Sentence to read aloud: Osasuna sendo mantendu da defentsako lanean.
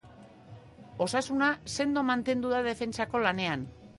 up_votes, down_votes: 2, 0